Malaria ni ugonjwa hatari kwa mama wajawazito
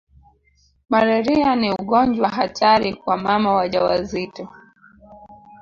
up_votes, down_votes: 0, 2